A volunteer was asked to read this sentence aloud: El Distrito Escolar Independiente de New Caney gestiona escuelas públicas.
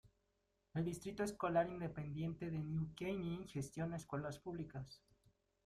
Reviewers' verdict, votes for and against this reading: rejected, 0, 2